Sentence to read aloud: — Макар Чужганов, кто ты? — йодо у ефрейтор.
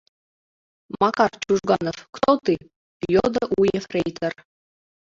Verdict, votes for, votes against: accepted, 2, 1